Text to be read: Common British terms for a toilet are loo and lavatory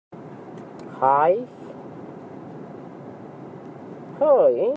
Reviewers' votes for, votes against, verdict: 1, 2, rejected